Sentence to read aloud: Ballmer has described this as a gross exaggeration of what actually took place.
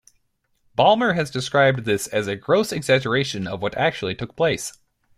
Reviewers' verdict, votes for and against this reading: accepted, 2, 0